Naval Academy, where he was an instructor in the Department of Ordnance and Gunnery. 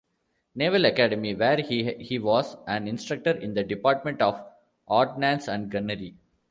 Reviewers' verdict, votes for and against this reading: rejected, 0, 2